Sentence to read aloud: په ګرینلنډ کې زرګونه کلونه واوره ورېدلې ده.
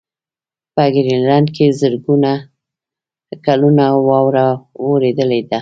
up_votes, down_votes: 2, 0